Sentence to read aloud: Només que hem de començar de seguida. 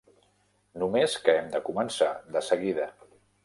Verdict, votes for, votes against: accepted, 3, 0